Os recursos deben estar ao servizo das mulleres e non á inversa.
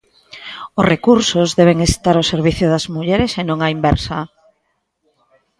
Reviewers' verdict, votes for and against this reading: rejected, 0, 2